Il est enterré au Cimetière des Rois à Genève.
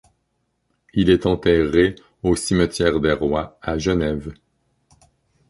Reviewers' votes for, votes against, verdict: 2, 0, accepted